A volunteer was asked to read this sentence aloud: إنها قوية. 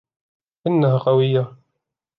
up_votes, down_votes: 2, 0